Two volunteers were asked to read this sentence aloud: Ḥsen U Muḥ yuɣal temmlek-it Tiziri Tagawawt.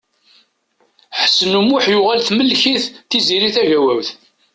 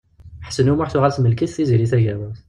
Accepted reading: first